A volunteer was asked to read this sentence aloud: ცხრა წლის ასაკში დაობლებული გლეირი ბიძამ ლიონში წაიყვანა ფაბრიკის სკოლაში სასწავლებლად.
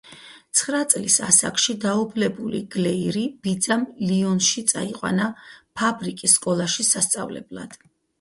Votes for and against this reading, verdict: 2, 2, rejected